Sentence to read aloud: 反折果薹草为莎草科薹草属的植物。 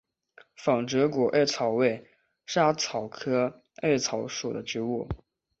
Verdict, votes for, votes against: accepted, 5, 0